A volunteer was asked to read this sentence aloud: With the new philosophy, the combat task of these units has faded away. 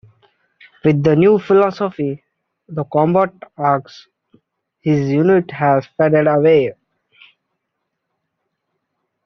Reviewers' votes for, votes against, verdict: 1, 2, rejected